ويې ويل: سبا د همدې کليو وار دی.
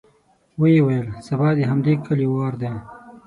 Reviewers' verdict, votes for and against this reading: accepted, 6, 0